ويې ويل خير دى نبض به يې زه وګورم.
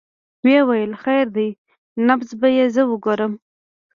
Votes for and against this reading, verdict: 2, 0, accepted